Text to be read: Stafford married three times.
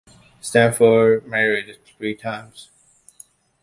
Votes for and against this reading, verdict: 2, 0, accepted